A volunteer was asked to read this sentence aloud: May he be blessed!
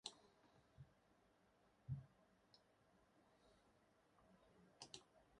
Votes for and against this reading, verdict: 2, 2, rejected